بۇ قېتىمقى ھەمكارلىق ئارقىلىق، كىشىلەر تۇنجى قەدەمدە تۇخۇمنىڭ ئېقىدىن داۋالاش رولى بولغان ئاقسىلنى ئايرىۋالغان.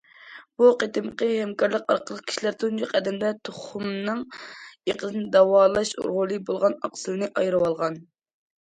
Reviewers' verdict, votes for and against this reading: accepted, 2, 0